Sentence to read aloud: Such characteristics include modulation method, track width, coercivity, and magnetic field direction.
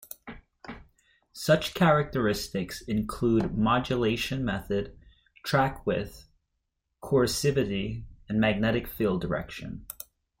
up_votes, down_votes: 2, 0